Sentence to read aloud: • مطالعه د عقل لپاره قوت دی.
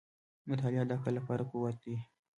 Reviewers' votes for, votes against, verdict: 2, 0, accepted